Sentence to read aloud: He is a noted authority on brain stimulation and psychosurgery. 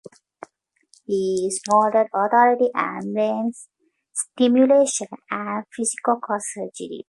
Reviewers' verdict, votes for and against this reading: rejected, 0, 2